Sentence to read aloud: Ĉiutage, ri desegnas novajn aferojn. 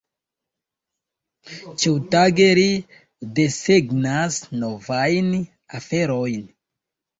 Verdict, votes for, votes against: accepted, 2, 1